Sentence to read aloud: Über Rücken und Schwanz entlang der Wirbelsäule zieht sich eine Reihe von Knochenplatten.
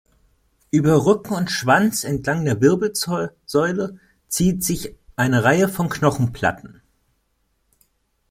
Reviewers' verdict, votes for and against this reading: rejected, 0, 2